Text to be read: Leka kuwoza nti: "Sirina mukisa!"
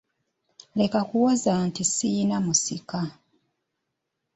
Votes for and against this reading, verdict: 1, 2, rejected